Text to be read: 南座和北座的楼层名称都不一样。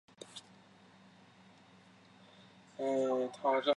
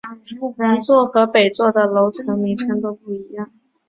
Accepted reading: second